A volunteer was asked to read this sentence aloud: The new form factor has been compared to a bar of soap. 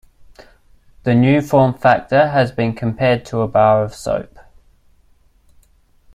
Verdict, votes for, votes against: accepted, 2, 0